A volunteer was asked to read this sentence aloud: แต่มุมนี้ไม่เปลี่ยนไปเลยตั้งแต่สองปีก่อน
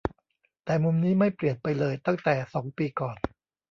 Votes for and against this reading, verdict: 2, 0, accepted